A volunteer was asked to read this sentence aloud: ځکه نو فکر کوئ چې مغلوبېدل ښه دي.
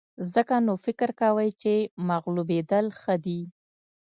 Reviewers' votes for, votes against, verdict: 2, 0, accepted